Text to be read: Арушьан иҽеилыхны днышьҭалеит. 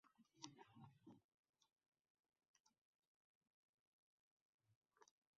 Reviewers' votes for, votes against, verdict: 0, 2, rejected